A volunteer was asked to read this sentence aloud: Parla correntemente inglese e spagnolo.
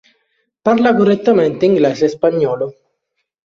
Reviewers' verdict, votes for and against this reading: rejected, 1, 2